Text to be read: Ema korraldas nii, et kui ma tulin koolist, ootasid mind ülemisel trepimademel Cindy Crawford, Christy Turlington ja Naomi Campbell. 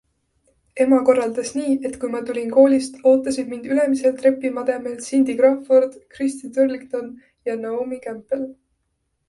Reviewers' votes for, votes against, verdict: 2, 0, accepted